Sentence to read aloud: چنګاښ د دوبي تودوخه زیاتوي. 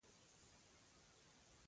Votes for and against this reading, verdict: 1, 2, rejected